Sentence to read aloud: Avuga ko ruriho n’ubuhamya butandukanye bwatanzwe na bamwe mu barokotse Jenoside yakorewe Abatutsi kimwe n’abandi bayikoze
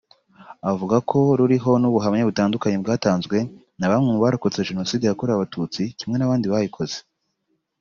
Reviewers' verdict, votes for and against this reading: accepted, 4, 0